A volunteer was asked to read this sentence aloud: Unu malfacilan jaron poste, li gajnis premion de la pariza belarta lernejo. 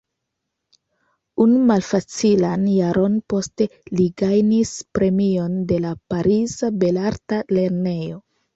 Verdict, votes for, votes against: accepted, 2, 1